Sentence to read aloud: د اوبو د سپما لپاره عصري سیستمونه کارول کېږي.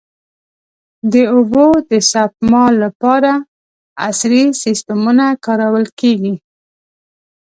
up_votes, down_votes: 2, 3